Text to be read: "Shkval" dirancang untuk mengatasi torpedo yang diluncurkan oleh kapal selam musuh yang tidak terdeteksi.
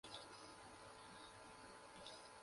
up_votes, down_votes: 0, 2